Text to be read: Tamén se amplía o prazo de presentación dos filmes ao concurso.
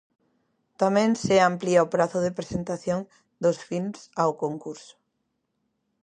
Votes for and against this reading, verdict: 0, 2, rejected